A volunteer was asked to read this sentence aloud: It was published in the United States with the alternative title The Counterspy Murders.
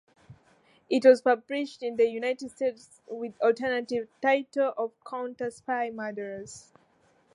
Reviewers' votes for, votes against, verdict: 2, 1, accepted